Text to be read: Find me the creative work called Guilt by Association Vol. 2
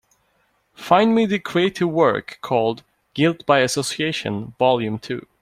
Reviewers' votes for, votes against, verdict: 0, 2, rejected